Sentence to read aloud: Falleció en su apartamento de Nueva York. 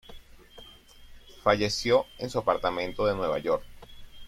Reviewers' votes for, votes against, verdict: 2, 0, accepted